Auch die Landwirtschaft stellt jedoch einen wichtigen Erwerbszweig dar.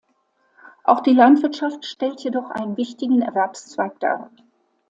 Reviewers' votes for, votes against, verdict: 2, 0, accepted